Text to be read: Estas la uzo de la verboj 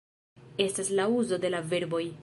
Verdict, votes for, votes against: accepted, 4, 0